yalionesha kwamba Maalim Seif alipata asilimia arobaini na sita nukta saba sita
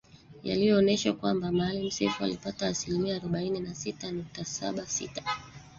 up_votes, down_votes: 1, 2